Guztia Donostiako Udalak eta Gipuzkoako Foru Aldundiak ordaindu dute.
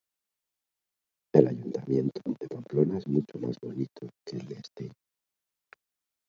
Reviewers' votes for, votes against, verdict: 0, 2, rejected